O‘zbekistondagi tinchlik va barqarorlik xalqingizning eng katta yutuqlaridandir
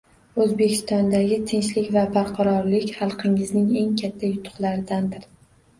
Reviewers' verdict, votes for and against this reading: accepted, 2, 0